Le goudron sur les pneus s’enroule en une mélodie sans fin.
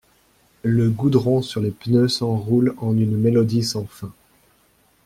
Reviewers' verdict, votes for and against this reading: accepted, 2, 0